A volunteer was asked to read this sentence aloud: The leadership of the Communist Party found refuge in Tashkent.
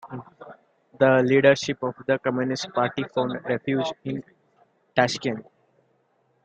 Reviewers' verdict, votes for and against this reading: accepted, 2, 0